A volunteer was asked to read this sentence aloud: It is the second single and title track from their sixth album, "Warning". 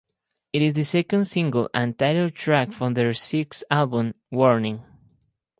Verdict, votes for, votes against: accepted, 2, 0